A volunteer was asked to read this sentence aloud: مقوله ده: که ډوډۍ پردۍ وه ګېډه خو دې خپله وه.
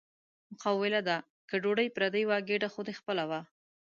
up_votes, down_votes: 0, 2